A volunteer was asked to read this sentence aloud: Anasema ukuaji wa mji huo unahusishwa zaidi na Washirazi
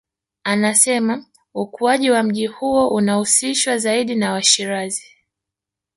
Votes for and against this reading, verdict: 0, 2, rejected